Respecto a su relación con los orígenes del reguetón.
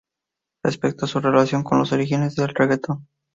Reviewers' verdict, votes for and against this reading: accepted, 2, 0